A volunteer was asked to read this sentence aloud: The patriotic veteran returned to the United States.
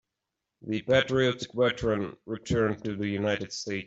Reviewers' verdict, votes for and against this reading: rejected, 0, 2